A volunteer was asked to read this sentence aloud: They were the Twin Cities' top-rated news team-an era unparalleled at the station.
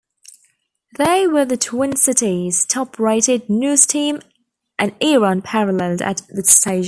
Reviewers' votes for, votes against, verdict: 0, 2, rejected